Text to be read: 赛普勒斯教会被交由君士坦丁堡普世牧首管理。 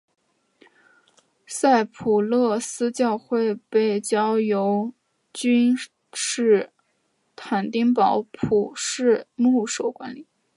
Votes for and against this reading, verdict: 2, 3, rejected